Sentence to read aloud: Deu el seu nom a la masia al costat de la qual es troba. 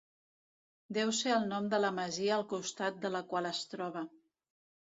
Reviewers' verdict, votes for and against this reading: rejected, 1, 2